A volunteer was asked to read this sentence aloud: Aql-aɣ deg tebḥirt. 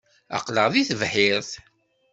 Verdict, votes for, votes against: accepted, 2, 0